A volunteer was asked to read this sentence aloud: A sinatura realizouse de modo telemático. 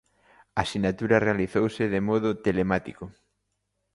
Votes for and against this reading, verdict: 2, 0, accepted